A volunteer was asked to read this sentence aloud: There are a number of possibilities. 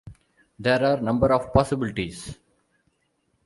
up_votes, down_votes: 0, 2